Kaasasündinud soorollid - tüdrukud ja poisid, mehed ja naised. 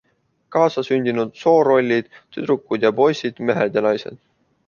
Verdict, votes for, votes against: accepted, 2, 0